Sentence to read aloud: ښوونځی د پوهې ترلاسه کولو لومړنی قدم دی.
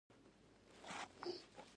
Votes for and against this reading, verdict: 1, 2, rejected